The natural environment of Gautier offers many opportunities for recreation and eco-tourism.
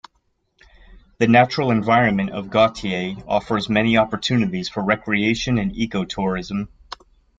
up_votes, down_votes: 2, 0